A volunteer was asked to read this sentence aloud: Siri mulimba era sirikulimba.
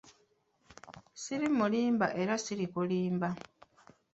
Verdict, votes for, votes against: accepted, 2, 0